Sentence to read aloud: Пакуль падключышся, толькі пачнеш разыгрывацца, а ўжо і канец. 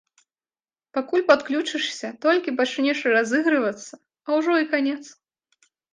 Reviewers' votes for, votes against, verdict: 2, 0, accepted